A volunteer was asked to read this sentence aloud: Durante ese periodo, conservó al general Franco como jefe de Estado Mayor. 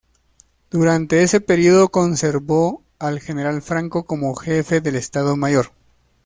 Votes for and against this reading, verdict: 1, 2, rejected